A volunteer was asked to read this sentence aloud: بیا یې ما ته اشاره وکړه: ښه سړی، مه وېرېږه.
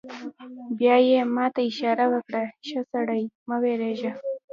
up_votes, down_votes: 2, 1